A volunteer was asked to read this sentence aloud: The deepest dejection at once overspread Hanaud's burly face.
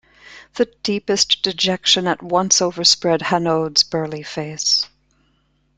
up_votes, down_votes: 2, 0